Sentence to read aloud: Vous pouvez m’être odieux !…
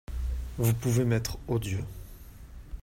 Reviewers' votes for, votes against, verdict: 2, 0, accepted